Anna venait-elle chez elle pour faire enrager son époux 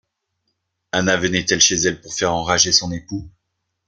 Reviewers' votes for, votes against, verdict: 2, 0, accepted